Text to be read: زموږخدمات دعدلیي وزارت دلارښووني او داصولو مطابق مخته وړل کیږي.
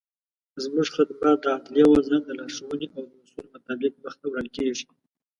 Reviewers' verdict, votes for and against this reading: accepted, 2, 0